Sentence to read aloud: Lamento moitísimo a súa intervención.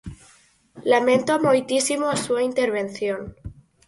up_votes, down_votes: 4, 0